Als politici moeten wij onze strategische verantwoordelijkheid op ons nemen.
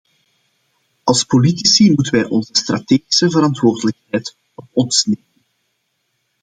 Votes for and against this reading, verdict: 0, 2, rejected